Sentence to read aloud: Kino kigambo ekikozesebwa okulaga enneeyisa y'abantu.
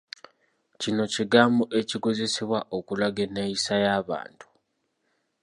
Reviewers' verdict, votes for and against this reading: accepted, 2, 0